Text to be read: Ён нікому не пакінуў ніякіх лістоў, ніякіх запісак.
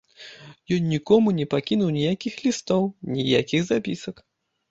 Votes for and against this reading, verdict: 1, 2, rejected